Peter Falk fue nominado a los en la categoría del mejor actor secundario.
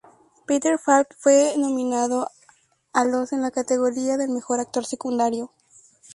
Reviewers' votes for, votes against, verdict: 2, 0, accepted